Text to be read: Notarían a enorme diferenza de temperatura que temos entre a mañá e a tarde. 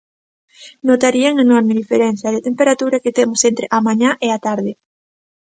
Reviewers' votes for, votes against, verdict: 2, 0, accepted